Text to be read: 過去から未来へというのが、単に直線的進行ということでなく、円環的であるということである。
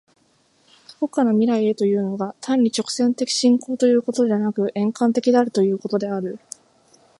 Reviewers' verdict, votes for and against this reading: accepted, 2, 0